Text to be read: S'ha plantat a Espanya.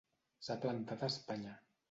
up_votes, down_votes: 1, 2